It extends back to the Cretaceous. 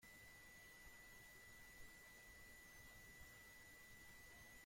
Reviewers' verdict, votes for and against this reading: rejected, 0, 2